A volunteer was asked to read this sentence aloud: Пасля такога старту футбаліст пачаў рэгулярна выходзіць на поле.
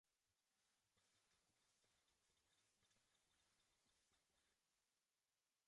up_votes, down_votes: 0, 2